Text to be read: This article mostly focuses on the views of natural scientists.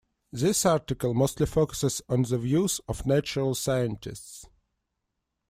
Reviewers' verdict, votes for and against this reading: accepted, 2, 0